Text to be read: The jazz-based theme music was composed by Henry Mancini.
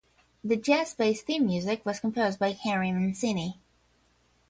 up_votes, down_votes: 0, 5